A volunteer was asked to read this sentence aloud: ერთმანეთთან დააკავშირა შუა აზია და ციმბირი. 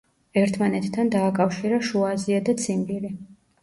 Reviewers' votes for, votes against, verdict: 2, 0, accepted